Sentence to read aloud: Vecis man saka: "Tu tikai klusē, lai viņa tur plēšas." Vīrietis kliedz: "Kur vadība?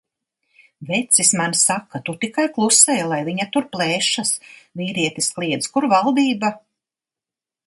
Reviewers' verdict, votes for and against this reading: rejected, 0, 2